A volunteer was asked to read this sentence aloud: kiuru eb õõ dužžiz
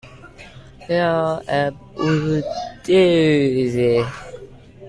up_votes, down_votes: 0, 2